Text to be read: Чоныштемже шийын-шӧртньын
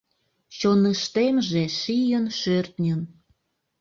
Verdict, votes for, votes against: accepted, 2, 0